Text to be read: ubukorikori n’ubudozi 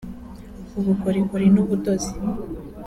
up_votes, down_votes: 0, 2